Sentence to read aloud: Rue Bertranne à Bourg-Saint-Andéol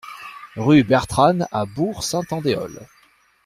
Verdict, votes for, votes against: accepted, 2, 0